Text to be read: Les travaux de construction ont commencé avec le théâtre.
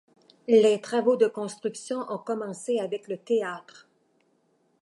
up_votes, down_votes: 2, 0